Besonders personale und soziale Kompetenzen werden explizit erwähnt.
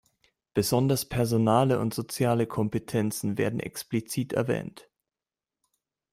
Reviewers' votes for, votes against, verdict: 2, 0, accepted